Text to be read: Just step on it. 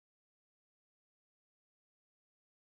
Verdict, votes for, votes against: rejected, 0, 2